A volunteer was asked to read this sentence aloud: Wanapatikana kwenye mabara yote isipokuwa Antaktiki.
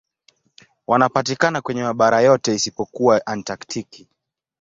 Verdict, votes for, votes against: accepted, 2, 0